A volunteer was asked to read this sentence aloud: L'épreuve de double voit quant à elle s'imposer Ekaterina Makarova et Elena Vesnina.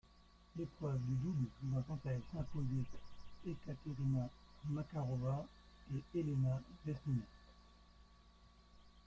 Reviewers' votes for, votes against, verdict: 1, 2, rejected